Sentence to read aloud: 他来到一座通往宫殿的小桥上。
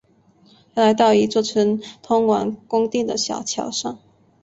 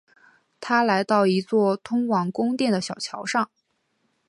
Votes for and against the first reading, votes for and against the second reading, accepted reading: 0, 2, 2, 0, second